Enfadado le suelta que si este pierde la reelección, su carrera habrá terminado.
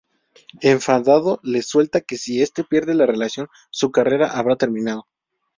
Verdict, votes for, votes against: rejected, 0, 2